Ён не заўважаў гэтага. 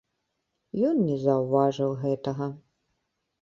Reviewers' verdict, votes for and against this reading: rejected, 1, 2